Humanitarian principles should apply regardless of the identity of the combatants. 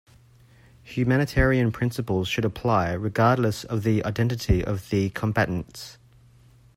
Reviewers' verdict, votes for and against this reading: accepted, 2, 0